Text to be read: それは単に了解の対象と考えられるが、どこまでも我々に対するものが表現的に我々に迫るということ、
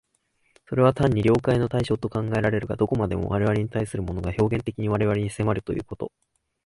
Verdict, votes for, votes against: accepted, 2, 0